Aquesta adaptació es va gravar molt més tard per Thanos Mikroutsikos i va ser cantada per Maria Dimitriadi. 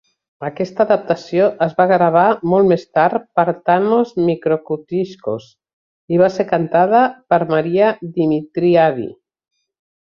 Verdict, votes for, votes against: rejected, 0, 2